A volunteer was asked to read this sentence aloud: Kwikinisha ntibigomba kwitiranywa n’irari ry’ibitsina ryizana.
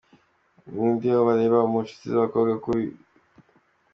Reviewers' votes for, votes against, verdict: 0, 2, rejected